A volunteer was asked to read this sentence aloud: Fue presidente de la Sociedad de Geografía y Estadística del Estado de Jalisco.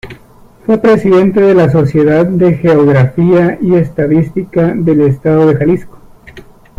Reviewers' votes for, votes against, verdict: 2, 1, accepted